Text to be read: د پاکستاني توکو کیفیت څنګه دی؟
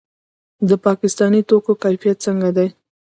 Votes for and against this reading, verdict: 2, 1, accepted